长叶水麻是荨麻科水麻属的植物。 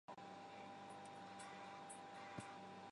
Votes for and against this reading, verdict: 0, 2, rejected